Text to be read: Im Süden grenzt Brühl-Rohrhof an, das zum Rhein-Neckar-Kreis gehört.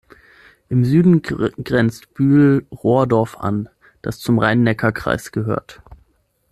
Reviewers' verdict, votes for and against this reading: rejected, 0, 6